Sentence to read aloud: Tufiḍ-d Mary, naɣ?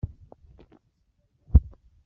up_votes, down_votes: 0, 2